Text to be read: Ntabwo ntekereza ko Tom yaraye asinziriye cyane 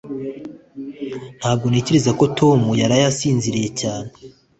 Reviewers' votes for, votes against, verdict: 2, 0, accepted